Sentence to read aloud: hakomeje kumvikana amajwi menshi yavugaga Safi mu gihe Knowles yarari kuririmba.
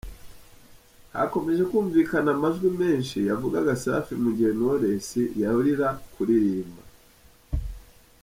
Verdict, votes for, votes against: rejected, 1, 2